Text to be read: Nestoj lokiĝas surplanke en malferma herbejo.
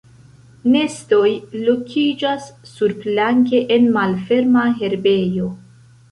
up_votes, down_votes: 1, 2